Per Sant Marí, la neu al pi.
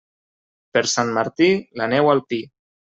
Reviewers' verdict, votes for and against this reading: rejected, 1, 2